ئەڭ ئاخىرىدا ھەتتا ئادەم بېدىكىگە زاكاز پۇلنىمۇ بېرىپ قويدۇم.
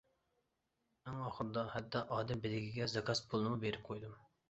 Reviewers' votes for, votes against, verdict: 0, 2, rejected